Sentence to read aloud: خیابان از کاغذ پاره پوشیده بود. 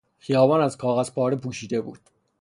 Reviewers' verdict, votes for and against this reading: rejected, 0, 3